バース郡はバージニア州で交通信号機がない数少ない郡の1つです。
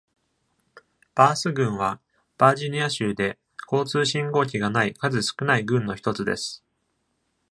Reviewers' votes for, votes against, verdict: 0, 2, rejected